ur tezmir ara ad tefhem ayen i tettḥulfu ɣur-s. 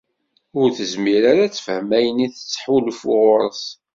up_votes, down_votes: 2, 0